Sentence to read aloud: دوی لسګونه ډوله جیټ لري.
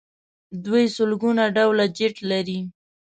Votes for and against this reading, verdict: 1, 2, rejected